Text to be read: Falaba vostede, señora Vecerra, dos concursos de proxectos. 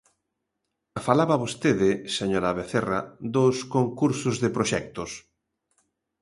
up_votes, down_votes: 2, 0